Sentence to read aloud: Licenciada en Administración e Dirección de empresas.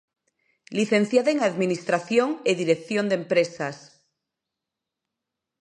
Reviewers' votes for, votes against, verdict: 2, 0, accepted